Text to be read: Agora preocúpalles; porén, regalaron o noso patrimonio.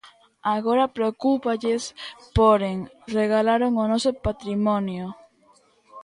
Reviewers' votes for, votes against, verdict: 0, 2, rejected